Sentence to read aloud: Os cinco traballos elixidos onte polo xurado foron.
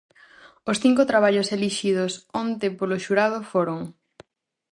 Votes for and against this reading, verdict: 4, 0, accepted